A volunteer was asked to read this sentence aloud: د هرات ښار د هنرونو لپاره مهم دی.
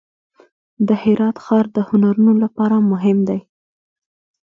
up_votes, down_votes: 2, 0